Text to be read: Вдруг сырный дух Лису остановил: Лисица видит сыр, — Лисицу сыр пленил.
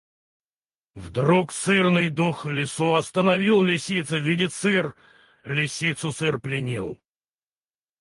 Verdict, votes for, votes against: rejected, 0, 4